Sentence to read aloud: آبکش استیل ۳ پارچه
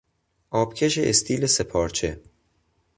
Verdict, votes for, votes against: rejected, 0, 2